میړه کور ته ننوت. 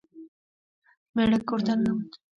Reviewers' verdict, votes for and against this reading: accepted, 3, 0